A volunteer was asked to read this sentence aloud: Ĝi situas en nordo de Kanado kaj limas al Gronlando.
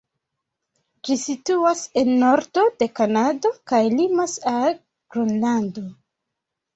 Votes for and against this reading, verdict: 2, 0, accepted